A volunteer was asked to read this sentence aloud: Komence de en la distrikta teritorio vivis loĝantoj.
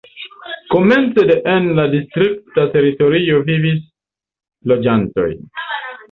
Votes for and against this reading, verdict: 2, 0, accepted